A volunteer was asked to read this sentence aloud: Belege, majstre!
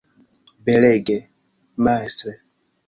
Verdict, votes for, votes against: rejected, 0, 2